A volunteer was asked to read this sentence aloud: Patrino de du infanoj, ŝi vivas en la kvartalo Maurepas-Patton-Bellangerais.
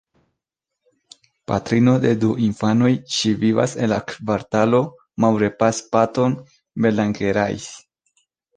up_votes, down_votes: 2, 0